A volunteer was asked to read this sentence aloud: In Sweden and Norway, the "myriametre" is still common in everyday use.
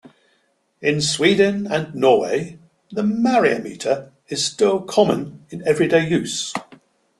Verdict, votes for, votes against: accepted, 2, 0